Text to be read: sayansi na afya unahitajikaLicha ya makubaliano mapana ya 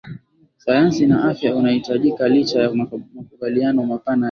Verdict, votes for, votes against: accepted, 2, 0